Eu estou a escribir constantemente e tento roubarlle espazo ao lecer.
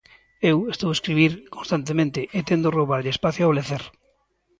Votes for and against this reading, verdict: 2, 0, accepted